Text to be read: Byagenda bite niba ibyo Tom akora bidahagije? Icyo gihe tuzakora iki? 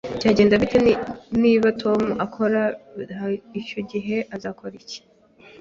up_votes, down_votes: 0, 4